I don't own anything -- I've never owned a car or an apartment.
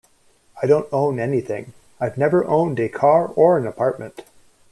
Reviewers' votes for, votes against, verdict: 2, 0, accepted